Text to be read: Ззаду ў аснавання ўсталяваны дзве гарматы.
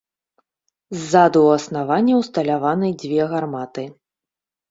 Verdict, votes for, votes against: accepted, 2, 0